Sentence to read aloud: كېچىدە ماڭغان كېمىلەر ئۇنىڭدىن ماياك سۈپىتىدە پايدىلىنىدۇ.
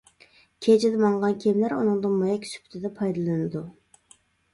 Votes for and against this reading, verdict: 2, 1, accepted